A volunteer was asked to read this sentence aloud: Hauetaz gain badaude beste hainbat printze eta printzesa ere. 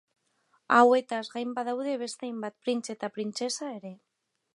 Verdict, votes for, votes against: accepted, 2, 1